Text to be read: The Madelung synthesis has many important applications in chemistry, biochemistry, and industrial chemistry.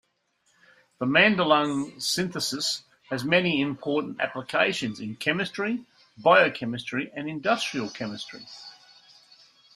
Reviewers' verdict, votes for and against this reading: accepted, 2, 0